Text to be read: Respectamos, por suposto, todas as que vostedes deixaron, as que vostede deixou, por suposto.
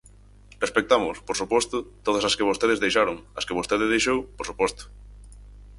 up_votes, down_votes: 4, 0